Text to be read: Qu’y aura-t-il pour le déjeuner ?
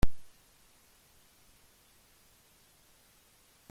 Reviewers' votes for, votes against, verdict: 0, 2, rejected